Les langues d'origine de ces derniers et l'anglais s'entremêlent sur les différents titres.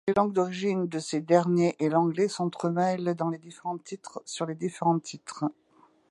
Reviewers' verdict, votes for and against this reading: rejected, 0, 2